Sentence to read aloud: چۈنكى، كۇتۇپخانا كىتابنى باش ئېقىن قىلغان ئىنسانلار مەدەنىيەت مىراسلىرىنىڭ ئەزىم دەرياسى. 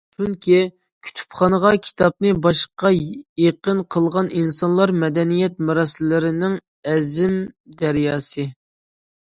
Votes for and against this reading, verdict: 0, 2, rejected